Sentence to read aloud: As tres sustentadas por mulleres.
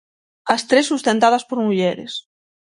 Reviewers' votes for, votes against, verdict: 6, 0, accepted